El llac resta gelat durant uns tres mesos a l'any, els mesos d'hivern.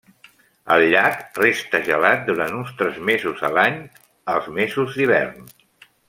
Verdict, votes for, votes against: accepted, 3, 1